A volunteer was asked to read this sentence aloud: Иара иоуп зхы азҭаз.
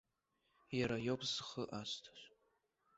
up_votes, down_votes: 0, 2